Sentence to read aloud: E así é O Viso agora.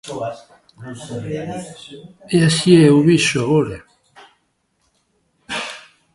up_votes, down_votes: 2, 0